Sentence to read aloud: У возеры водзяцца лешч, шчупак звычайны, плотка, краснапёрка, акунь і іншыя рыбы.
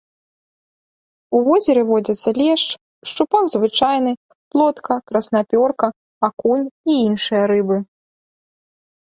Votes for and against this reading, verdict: 2, 0, accepted